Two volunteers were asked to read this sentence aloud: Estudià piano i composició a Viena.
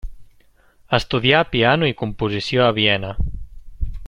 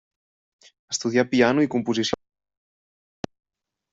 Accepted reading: first